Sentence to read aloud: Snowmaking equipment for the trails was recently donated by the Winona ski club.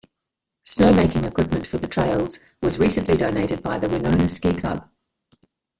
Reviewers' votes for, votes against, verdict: 1, 2, rejected